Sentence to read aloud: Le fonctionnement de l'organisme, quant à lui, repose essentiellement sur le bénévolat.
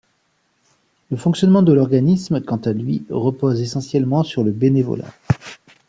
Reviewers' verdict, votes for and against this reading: accepted, 2, 0